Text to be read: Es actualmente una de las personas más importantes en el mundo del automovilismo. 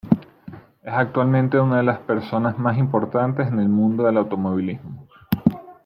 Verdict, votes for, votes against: rejected, 1, 2